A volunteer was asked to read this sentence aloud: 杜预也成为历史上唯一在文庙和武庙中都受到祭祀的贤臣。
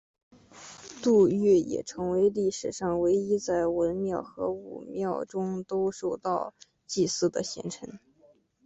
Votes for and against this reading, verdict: 2, 0, accepted